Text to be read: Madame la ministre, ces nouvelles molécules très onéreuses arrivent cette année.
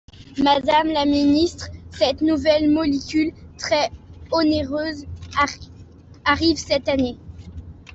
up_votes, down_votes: 0, 2